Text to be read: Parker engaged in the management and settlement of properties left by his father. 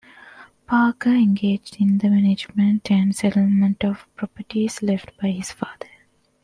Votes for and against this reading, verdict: 2, 0, accepted